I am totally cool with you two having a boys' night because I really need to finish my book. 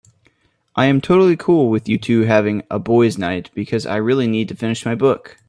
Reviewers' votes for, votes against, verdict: 2, 0, accepted